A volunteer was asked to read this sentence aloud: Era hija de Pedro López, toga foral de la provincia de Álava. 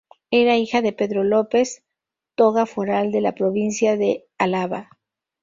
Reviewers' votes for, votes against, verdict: 2, 2, rejected